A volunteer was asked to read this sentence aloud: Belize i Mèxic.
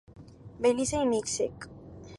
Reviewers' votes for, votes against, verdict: 2, 0, accepted